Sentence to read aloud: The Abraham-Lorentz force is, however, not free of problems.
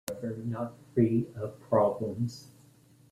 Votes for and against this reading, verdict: 0, 2, rejected